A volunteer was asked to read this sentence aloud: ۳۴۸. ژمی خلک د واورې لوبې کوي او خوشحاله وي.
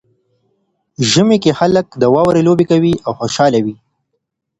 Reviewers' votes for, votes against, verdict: 0, 2, rejected